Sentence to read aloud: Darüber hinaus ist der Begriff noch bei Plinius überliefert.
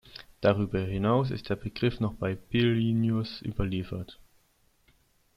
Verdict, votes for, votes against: rejected, 0, 2